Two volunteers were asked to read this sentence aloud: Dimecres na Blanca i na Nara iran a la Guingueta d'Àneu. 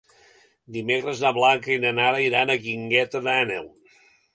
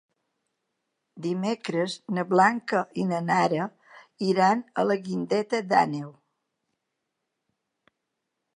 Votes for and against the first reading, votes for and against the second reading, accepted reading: 1, 3, 2, 0, second